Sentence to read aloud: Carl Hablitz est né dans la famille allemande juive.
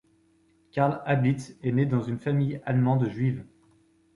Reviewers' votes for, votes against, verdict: 2, 3, rejected